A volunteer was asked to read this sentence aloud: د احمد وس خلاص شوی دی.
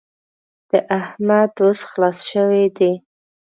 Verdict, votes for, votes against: rejected, 1, 2